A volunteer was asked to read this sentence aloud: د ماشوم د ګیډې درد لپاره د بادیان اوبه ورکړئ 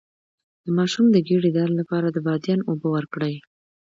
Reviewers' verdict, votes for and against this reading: accepted, 2, 0